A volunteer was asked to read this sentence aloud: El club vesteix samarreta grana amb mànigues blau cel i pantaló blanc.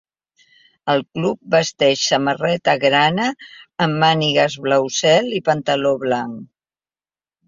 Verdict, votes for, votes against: accepted, 2, 0